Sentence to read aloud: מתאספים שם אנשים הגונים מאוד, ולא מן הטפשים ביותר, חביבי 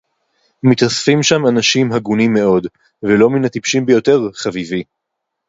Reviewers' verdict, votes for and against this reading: rejected, 0, 2